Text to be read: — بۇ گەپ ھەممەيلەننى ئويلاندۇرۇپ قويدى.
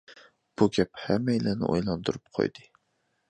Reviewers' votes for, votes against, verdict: 2, 0, accepted